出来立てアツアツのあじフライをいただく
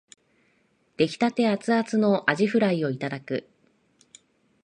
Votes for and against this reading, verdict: 4, 2, accepted